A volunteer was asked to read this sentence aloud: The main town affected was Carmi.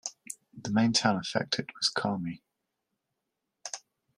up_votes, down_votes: 2, 0